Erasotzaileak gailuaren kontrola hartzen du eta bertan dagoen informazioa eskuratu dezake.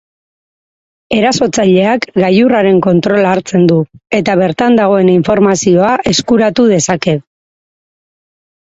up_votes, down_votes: 2, 4